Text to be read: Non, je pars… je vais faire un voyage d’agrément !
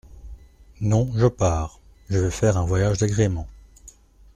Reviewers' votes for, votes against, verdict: 2, 0, accepted